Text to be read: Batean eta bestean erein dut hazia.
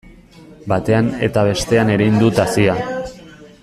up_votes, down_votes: 0, 2